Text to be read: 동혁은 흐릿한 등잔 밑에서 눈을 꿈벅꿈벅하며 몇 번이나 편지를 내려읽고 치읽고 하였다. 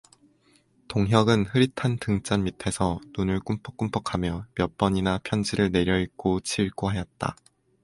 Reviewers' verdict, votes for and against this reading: accepted, 4, 0